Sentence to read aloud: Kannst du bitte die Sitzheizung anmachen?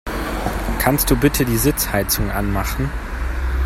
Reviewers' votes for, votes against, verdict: 2, 0, accepted